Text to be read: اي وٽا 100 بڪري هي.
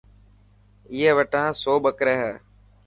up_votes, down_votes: 0, 2